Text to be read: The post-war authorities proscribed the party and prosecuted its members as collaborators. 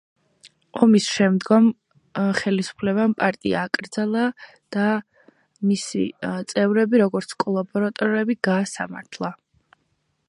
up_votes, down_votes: 0, 2